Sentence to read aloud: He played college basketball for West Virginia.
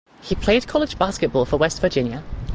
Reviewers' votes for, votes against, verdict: 4, 0, accepted